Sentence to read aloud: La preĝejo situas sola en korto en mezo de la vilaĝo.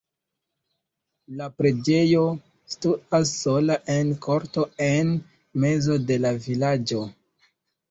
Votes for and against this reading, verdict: 1, 2, rejected